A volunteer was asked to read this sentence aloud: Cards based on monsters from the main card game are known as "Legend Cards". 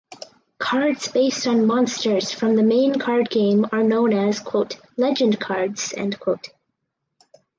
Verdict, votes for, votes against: rejected, 2, 4